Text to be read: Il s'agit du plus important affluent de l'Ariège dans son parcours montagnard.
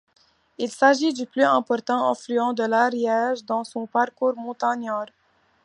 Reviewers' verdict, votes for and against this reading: accepted, 2, 0